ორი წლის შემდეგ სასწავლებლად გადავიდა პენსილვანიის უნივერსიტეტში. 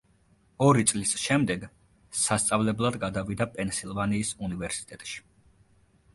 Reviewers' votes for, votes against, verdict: 2, 1, accepted